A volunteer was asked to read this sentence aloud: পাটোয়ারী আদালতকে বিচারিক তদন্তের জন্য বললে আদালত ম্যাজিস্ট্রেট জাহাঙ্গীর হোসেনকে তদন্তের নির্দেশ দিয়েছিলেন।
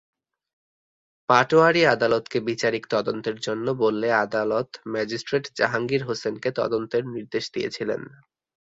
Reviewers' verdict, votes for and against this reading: accepted, 5, 0